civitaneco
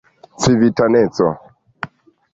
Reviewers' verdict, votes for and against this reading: accepted, 2, 0